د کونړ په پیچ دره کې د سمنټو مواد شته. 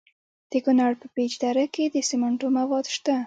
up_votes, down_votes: 0, 2